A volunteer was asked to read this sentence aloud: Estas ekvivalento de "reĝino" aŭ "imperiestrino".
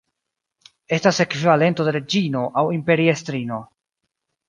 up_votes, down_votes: 0, 2